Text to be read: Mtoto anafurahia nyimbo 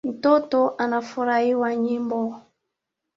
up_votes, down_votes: 0, 2